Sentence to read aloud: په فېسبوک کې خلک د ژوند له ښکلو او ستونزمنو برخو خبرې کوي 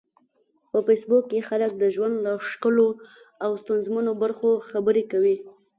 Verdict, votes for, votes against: accepted, 2, 0